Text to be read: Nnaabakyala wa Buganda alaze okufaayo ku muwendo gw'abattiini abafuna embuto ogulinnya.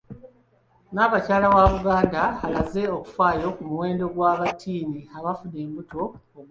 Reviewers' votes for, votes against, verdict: 1, 2, rejected